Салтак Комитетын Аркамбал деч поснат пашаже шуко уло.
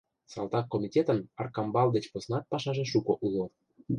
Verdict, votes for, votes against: accepted, 2, 0